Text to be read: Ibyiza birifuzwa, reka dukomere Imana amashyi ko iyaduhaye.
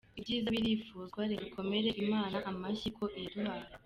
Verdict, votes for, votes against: accepted, 2, 1